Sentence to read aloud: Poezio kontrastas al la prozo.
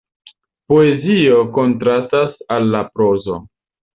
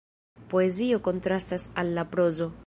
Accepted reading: first